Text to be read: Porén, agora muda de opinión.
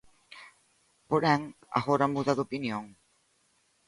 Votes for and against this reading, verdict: 2, 0, accepted